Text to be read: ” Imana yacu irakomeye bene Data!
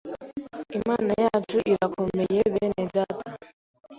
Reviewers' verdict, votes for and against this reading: accepted, 2, 0